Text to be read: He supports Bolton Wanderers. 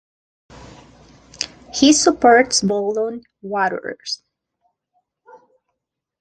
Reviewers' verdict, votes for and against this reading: rejected, 0, 2